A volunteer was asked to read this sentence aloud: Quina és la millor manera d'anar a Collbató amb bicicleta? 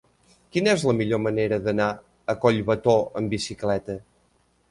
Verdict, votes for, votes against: accepted, 3, 0